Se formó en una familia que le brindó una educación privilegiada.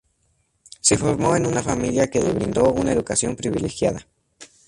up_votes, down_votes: 0, 2